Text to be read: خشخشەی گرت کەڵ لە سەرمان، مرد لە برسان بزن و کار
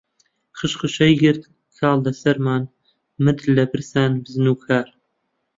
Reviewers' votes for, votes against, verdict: 0, 2, rejected